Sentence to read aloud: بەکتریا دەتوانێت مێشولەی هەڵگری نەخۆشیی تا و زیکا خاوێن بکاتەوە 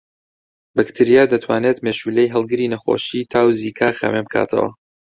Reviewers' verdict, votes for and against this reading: accepted, 2, 0